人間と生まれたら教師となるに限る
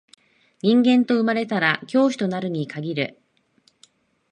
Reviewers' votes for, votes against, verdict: 2, 0, accepted